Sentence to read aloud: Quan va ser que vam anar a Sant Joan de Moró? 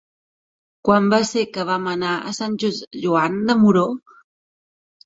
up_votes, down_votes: 0, 2